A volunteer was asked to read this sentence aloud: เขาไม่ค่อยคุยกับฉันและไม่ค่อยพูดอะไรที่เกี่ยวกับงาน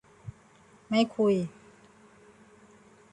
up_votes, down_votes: 0, 2